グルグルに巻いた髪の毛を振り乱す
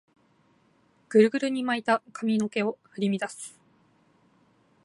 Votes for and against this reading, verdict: 2, 0, accepted